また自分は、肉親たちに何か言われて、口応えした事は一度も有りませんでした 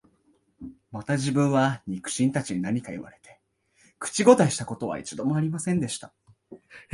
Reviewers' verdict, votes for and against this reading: accepted, 2, 1